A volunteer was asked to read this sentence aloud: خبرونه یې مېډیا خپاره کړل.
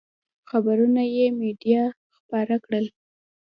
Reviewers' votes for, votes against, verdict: 2, 1, accepted